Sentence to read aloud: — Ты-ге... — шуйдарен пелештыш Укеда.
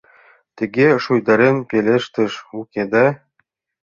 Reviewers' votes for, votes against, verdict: 2, 1, accepted